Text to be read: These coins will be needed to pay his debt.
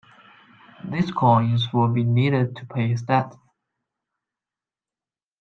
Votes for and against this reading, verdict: 2, 1, accepted